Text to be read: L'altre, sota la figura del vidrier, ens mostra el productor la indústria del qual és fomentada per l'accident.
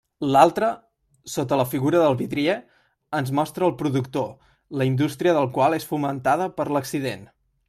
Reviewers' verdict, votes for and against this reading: accepted, 2, 1